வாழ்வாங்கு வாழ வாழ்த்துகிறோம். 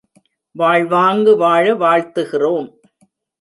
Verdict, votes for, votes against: accepted, 2, 0